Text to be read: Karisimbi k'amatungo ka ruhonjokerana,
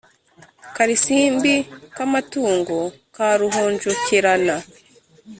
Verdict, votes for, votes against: rejected, 1, 2